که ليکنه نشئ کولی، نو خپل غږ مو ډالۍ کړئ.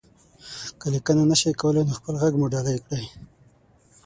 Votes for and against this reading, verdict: 0, 6, rejected